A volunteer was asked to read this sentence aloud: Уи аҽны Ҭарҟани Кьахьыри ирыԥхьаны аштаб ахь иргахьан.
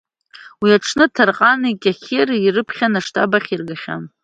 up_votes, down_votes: 2, 0